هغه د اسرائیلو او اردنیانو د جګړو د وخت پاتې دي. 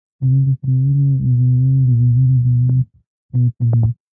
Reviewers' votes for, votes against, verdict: 0, 2, rejected